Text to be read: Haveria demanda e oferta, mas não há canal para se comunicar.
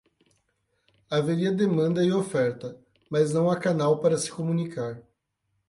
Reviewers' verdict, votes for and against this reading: accepted, 8, 0